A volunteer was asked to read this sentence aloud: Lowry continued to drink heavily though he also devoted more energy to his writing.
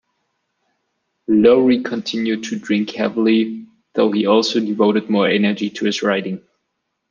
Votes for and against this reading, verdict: 2, 0, accepted